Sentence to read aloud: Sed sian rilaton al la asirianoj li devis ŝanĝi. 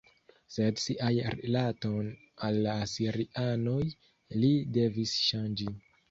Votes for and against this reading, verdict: 1, 2, rejected